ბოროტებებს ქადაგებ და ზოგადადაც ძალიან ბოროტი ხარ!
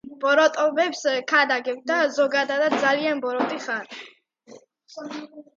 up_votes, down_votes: 2, 0